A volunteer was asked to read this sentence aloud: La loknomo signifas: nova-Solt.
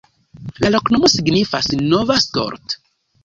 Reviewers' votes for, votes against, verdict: 1, 2, rejected